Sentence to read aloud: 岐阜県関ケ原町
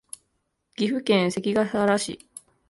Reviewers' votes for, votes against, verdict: 2, 3, rejected